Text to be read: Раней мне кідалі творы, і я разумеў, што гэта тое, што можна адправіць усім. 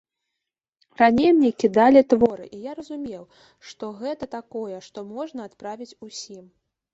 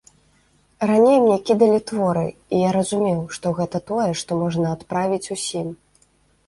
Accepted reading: second